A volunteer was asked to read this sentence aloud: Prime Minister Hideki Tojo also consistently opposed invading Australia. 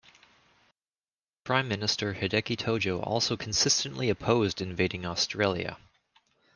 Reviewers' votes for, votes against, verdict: 2, 0, accepted